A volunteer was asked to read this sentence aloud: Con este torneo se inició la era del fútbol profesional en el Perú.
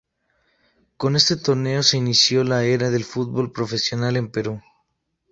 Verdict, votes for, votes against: rejected, 0, 2